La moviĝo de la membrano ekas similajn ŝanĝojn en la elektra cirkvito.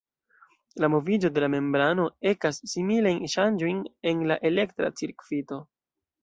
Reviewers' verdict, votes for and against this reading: rejected, 1, 2